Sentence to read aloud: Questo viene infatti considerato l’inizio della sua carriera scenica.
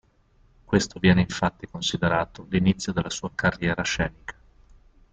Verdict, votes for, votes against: rejected, 0, 2